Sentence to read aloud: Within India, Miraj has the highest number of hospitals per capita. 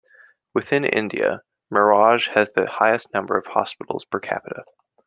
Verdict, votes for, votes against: accepted, 2, 0